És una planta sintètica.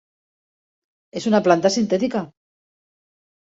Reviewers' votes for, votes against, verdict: 3, 0, accepted